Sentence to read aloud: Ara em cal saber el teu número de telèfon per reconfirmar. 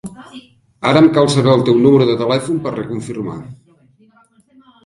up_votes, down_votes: 1, 2